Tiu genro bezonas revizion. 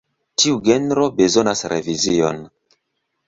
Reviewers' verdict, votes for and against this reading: accepted, 2, 0